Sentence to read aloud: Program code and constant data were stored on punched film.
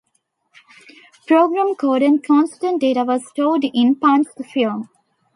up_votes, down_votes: 0, 2